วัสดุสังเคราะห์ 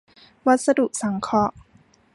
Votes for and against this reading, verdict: 2, 0, accepted